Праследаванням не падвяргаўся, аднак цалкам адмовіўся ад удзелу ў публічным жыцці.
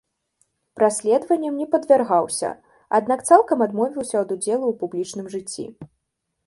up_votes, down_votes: 2, 0